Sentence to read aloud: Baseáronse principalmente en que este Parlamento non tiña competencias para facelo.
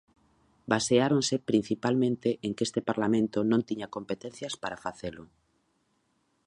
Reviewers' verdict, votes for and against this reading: accepted, 2, 0